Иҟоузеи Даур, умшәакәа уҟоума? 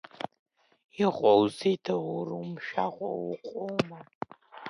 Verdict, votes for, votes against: rejected, 1, 2